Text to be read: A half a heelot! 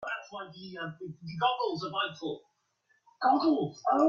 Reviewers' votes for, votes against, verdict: 0, 2, rejected